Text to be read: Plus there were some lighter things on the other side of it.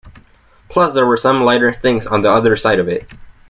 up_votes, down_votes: 2, 0